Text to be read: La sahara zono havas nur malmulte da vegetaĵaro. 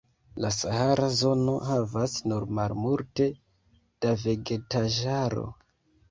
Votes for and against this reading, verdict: 1, 2, rejected